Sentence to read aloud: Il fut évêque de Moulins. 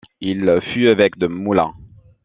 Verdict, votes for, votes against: rejected, 1, 2